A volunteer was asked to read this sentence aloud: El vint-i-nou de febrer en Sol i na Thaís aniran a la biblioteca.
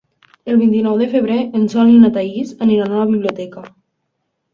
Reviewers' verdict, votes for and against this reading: accepted, 2, 0